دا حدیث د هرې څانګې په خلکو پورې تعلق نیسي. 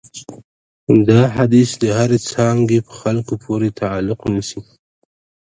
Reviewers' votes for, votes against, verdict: 2, 1, accepted